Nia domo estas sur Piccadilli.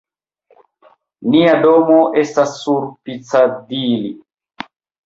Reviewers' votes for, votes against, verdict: 0, 2, rejected